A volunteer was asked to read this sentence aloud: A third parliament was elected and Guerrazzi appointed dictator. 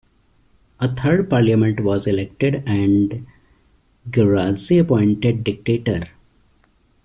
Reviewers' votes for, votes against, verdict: 2, 1, accepted